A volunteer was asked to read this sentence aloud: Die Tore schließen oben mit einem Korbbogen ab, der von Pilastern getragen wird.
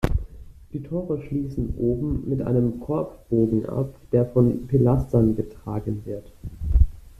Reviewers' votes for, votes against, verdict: 2, 0, accepted